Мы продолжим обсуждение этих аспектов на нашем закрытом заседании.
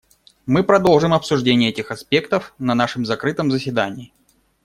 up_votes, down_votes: 2, 0